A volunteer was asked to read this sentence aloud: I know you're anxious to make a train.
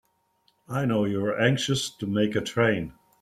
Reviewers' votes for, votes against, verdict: 2, 0, accepted